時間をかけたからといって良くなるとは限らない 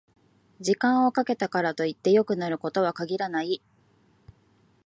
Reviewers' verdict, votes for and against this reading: rejected, 0, 2